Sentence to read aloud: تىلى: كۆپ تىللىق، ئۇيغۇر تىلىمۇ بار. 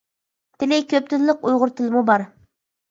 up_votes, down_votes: 2, 0